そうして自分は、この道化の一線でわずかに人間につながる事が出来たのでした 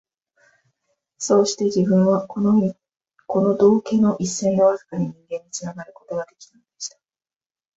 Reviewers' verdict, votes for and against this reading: accepted, 2, 1